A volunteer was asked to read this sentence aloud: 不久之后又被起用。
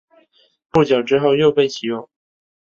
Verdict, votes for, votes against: rejected, 0, 2